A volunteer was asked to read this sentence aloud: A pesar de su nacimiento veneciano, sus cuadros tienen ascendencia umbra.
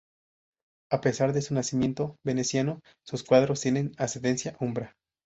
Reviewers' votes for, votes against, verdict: 2, 0, accepted